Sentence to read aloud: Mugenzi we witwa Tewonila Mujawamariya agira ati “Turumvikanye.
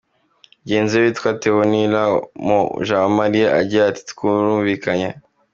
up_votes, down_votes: 2, 0